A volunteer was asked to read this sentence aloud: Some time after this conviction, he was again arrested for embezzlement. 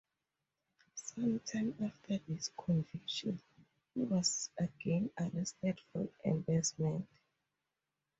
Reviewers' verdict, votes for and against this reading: accepted, 4, 2